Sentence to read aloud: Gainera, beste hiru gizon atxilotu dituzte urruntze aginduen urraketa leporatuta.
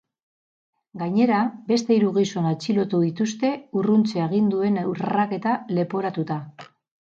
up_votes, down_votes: 2, 2